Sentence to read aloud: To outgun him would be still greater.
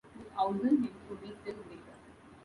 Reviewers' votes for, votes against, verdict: 1, 2, rejected